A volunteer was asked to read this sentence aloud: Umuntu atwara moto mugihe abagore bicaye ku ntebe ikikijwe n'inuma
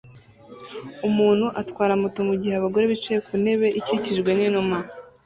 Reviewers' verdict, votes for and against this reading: accepted, 2, 0